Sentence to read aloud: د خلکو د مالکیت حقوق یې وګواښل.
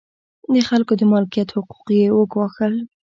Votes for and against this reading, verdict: 2, 0, accepted